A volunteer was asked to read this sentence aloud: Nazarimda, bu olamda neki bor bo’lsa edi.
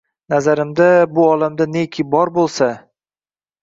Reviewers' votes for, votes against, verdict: 1, 2, rejected